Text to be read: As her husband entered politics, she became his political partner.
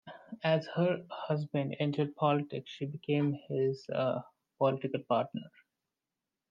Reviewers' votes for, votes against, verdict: 2, 1, accepted